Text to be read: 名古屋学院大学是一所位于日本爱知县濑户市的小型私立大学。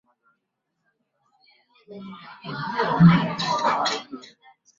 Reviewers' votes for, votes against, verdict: 0, 2, rejected